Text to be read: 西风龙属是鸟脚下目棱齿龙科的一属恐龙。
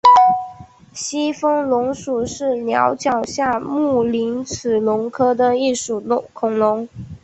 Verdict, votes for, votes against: accepted, 6, 1